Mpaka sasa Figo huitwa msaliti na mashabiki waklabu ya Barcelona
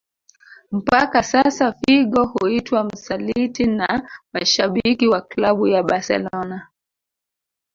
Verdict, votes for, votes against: accepted, 2, 1